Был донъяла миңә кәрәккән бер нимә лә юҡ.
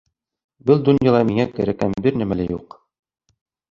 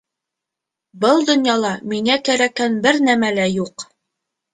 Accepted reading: first